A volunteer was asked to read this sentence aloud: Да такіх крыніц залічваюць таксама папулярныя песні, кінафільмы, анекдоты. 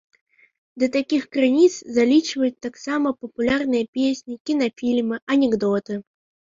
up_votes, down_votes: 3, 0